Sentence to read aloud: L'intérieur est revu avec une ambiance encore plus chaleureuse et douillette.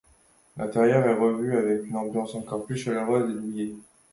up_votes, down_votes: 2, 0